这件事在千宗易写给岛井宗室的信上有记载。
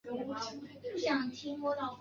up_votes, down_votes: 1, 2